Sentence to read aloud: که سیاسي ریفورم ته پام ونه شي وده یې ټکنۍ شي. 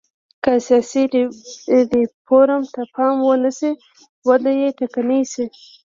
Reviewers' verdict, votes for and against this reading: rejected, 1, 2